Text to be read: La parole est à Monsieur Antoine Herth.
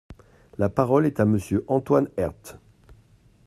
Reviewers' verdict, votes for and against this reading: accepted, 2, 0